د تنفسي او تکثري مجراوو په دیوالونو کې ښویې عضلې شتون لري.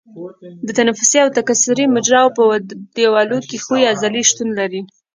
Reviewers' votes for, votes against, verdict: 3, 0, accepted